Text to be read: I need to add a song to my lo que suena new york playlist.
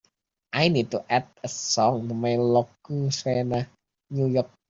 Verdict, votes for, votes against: rejected, 0, 3